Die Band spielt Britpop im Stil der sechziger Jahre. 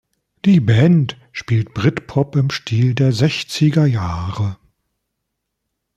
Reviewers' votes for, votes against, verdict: 2, 0, accepted